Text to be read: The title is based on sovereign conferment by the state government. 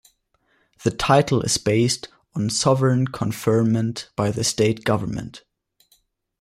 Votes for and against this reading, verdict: 2, 0, accepted